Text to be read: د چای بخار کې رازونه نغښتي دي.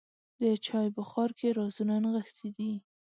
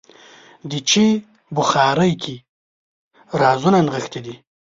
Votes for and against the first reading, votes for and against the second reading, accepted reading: 2, 0, 1, 2, first